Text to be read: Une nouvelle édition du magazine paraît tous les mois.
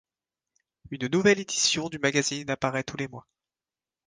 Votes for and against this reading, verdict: 1, 2, rejected